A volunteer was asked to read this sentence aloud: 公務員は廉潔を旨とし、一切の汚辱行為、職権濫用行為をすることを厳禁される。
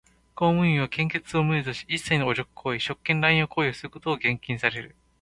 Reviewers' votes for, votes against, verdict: 0, 2, rejected